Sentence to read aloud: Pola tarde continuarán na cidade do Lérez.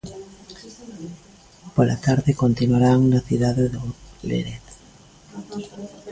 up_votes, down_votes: 1, 2